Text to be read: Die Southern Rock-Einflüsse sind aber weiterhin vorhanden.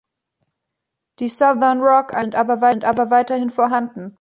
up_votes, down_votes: 0, 2